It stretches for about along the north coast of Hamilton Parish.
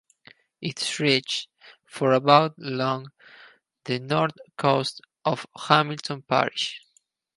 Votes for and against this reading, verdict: 2, 6, rejected